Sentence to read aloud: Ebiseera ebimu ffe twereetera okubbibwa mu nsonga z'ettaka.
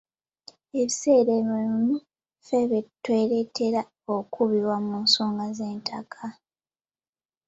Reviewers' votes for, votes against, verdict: 1, 2, rejected